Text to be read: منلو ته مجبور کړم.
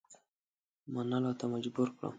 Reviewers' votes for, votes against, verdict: 2, 0, accepted